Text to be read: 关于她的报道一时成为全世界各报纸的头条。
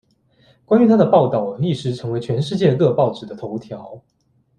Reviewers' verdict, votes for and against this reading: accepted, 2, 0